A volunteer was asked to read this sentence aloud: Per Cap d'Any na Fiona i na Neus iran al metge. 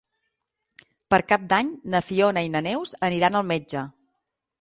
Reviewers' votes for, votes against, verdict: 3, 6, rejected